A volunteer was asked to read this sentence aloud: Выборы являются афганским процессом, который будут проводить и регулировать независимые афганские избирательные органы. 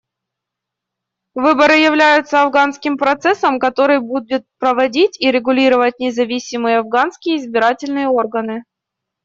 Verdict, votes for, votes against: rejected, 0, 2